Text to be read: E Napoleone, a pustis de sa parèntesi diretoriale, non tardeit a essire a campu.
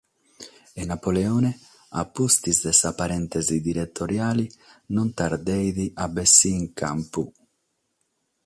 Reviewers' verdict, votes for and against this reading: rejected, 3, 3